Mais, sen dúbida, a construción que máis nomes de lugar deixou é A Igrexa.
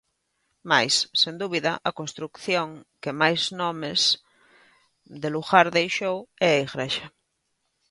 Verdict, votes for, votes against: rejected, 1, 2